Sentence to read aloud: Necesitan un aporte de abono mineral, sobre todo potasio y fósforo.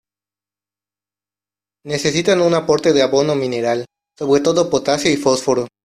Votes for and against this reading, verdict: 0, 2, rejected